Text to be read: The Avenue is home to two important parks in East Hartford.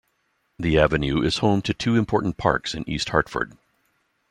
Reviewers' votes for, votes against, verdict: 2, 0, accepted